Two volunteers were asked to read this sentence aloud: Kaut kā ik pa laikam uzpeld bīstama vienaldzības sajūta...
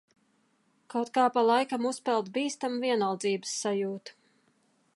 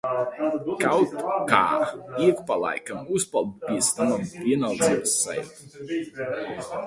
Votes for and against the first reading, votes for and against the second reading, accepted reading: 2, 0, 0, 2, first